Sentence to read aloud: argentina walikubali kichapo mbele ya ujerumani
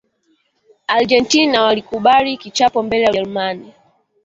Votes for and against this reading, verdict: 3, 0, accepted